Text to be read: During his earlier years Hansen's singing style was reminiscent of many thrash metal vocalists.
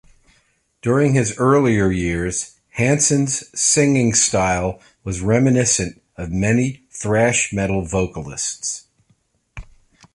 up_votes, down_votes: 2, 0